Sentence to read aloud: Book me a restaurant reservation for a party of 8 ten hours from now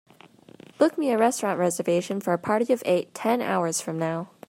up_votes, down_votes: 0, 2